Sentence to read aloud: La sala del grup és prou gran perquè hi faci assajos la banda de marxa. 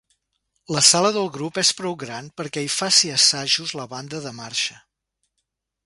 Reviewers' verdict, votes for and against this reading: accepted, 2, 0